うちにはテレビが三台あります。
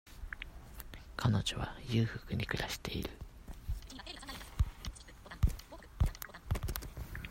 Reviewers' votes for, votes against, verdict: 0, 2, rejected